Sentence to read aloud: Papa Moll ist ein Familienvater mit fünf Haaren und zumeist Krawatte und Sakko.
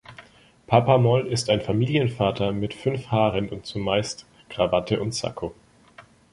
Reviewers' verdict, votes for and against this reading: accepted, 2, 1